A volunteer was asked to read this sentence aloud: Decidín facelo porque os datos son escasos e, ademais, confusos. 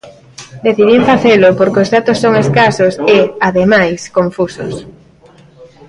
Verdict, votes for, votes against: rejected, 0, 2